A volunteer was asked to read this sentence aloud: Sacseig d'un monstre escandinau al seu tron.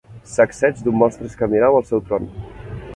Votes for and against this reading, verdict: 1, 2, rejected